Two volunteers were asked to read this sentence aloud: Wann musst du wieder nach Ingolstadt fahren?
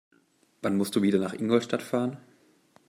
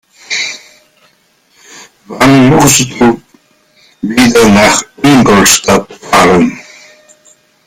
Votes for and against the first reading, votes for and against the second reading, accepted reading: 2, 0, 1, 2, first